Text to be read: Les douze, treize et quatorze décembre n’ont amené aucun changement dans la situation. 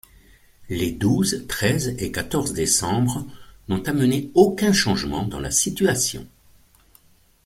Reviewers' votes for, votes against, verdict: 2, 0, accepted